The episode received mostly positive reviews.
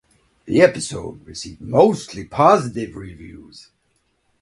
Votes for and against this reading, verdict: 4, 0, accepted